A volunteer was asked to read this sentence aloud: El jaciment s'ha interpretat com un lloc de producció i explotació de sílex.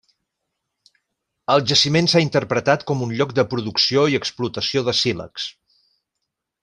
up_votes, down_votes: 3, 0